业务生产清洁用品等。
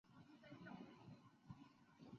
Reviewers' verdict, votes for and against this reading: rejected, 0, 5